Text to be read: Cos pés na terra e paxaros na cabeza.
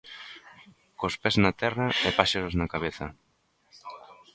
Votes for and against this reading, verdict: 0, 2, rejected